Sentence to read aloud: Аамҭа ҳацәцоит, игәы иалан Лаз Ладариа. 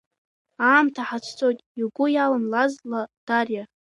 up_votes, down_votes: 0, 2